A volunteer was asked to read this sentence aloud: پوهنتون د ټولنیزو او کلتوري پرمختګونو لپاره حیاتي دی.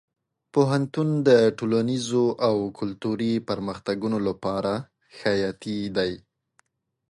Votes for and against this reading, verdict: 2, 0, accepted